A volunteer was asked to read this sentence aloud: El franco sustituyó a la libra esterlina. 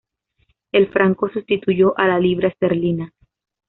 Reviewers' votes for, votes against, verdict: 2, 0, accepted